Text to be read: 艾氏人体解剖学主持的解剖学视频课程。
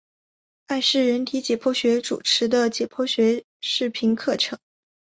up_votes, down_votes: 0, 2